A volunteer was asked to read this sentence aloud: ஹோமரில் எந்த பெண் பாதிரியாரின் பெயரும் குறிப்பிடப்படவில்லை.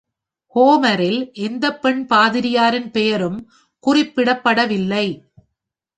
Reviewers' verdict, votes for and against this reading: accepted, 2, 0